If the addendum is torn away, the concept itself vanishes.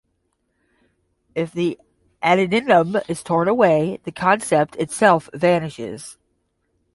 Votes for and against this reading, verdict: 10, 5, accepted